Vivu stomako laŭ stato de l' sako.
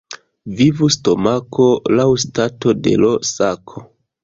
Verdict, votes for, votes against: rejected, 0, 2